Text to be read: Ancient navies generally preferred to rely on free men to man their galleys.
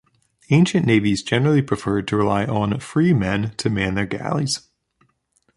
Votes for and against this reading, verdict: 2, 0, accepted